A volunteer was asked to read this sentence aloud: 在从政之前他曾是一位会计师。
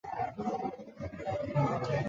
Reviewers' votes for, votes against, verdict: 1, 4, rejected